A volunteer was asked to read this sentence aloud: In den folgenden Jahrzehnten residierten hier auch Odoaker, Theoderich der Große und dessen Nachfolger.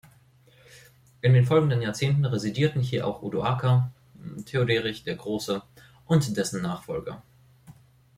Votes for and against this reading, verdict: 2, 0, accepted